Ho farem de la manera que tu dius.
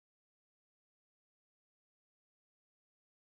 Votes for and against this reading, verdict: 0, 2, rejected